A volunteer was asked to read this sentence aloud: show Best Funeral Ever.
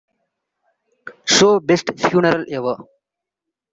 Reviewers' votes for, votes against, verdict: 2, 0, accepted